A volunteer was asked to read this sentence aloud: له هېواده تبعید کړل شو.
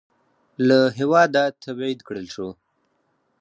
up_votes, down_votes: 4, 0